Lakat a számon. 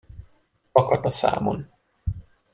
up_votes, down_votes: 2, 0